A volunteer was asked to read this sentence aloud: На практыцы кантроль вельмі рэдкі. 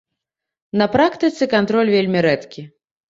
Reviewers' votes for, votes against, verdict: 2, 0, accepted